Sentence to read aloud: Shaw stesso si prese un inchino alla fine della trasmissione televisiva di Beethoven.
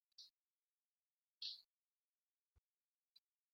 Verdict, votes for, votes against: rejected, 0, 2